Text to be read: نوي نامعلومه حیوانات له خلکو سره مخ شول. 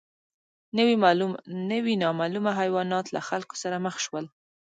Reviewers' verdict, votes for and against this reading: rejected, 1, 2